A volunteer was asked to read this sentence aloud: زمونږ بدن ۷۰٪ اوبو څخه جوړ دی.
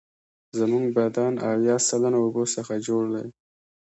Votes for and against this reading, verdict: 0, 2, rejected